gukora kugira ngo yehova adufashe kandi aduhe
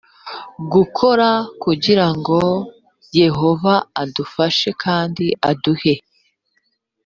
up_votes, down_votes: 3, 0